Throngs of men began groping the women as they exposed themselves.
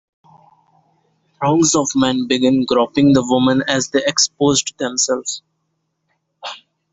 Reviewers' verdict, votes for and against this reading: accepted, 2, 0